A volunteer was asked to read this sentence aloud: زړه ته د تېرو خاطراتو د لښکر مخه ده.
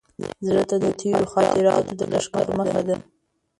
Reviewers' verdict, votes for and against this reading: rejected, 1, 2